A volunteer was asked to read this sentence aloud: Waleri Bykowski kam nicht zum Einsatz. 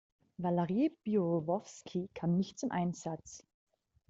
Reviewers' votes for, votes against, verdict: 0, 2, rejected